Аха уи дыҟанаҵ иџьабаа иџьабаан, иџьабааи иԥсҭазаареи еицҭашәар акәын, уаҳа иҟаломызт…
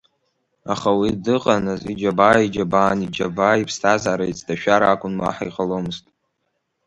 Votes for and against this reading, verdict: 2, 1, accepted